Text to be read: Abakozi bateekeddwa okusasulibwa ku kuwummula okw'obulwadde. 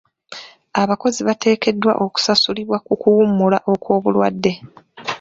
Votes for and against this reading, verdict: 2, 1, accepted